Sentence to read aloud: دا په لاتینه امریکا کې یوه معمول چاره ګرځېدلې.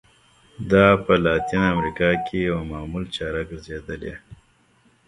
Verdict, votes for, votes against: accepted, 2, 1